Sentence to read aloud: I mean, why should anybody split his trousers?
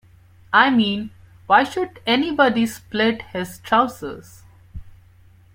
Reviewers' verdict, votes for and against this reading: accepted, 2, 0